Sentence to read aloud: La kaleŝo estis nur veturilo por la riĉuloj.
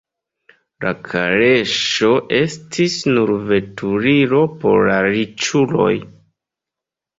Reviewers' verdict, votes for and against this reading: rejected, 1, 2